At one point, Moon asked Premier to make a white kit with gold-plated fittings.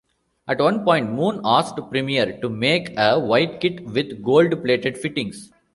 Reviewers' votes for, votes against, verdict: 0, 2, rejected